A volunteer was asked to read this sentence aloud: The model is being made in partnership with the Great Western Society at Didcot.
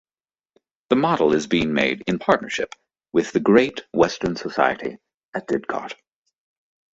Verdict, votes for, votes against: accepted, 2, 0